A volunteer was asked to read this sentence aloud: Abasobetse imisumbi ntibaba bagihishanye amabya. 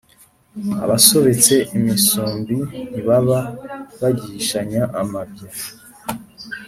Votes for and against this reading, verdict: 2, 0, accepted